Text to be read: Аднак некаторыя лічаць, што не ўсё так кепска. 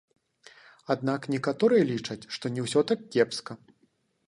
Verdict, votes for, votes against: accepted, 2, 1